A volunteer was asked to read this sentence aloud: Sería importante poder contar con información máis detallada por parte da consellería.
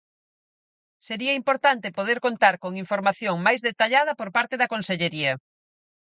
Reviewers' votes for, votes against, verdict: 4, 0, accepted